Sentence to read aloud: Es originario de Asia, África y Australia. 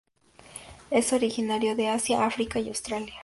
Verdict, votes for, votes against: accepted, 2, 0